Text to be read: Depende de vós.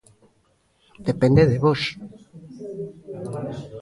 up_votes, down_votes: 2, 0